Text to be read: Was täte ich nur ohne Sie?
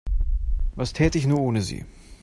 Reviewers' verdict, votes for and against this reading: accepted, 2, 0